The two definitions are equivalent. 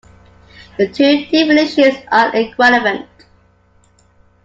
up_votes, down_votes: 2, 1